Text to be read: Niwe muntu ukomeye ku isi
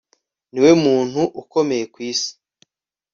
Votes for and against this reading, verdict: 2, 0, accepted